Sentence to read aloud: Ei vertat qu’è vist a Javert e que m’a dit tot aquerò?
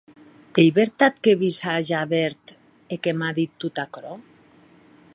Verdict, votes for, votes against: accepted, 4, 0